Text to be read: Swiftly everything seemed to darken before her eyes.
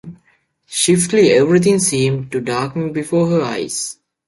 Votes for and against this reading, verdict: 1, 2, rejected